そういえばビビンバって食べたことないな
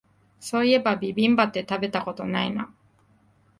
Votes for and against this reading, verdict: 2, 0, accepted